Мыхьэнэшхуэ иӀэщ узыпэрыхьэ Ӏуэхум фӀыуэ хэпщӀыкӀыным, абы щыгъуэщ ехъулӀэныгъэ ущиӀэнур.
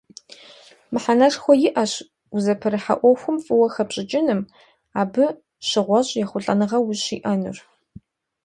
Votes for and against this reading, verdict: 1, 2, rejected